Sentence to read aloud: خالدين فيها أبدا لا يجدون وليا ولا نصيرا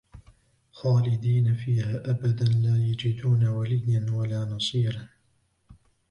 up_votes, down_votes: 1, 2